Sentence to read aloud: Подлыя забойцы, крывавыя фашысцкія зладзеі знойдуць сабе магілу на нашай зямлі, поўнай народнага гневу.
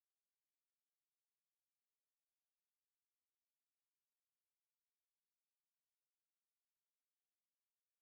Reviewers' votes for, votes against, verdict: 0, 3, rejected